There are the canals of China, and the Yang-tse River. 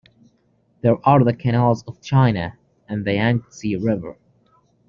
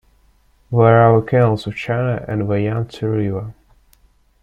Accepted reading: first